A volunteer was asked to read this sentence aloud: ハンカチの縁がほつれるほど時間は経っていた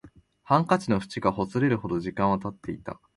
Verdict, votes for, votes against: accepted, 2, 0